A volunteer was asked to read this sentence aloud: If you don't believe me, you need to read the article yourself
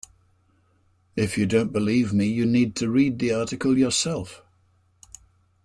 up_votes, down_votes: 2, 0